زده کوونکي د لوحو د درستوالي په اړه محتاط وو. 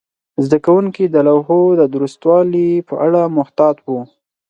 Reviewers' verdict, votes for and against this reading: accepted, 4, 0